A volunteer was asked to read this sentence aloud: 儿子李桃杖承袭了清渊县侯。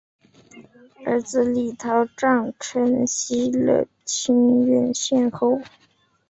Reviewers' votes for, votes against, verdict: 2, 0, accepted